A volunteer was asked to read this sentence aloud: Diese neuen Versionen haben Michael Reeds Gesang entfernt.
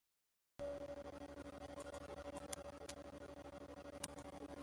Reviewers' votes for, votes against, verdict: 0, 3, rejected